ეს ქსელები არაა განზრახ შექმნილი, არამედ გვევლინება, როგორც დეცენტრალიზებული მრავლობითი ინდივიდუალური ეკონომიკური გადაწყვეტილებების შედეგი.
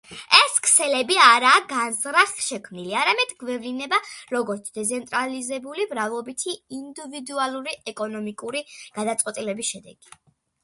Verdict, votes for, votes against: accepted, 2, 1